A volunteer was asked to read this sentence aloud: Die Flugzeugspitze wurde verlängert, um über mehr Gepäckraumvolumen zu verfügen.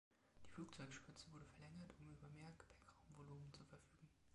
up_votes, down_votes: 1, 2